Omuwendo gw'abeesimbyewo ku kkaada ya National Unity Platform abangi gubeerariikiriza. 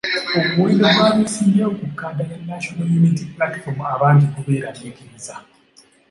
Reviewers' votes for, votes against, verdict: 2, 0, accepted